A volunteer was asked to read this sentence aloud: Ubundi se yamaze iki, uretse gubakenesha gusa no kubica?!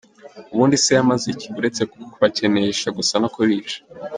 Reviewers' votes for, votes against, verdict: 2, 0, accepted